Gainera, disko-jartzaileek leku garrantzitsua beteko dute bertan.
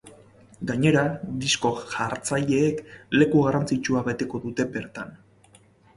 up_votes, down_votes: 4, 0